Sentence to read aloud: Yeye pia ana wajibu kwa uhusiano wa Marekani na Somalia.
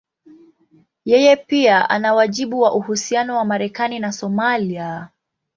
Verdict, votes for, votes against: accepted, 2, 0